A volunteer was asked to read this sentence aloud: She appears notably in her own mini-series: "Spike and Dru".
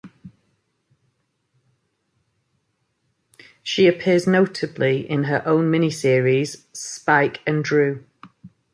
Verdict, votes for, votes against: accepted, 2, 0